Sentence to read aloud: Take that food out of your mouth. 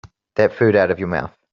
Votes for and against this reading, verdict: 0, 3, rejected